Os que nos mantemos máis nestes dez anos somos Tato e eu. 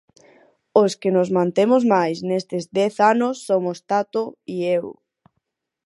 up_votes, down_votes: 2, 4